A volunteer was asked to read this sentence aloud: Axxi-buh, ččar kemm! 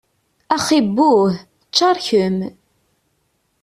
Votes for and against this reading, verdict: 2, 0, accepted